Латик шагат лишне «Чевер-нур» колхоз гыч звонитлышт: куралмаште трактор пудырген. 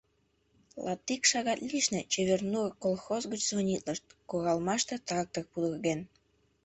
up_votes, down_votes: 2, 1